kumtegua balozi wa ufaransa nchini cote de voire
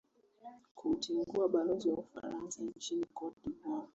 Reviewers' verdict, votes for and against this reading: accepted, 3, 1